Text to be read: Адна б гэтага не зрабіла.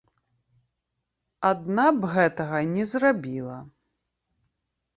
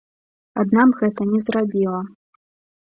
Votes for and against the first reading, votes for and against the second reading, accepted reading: 2, 0, 1, 2, first